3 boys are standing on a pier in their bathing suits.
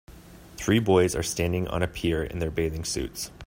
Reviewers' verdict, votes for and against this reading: rejected, 0, 2